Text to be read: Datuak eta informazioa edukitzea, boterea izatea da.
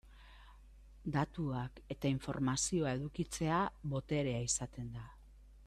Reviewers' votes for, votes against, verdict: 1, 2, rejected